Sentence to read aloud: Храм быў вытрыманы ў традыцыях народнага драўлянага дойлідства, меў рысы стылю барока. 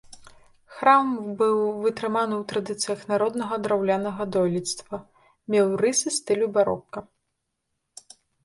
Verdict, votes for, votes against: rejected, 2, 3